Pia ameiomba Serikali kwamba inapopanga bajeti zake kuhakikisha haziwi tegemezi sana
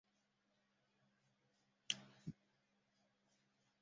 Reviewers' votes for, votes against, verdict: 0, 3, rejected